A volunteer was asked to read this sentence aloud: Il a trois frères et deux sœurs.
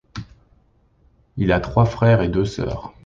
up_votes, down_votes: 2, 0